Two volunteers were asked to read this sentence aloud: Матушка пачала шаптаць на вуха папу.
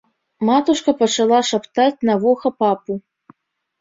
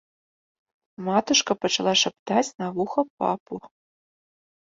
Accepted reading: second